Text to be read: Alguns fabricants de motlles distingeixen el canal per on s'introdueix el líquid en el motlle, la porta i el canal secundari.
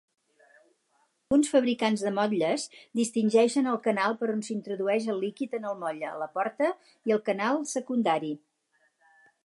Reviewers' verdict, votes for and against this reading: rejected, 2, 2